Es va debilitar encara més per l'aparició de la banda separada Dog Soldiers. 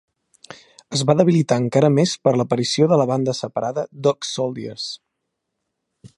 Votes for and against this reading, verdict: 3, 0, accepted